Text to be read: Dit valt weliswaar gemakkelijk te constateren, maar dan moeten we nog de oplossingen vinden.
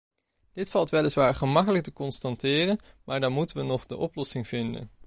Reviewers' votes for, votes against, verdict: 1, 2, rejected